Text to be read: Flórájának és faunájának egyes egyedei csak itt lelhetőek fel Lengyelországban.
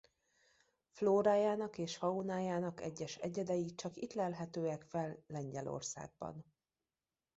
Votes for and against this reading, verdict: 2, 0, accepted